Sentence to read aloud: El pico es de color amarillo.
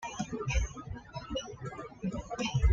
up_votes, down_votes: 1, 2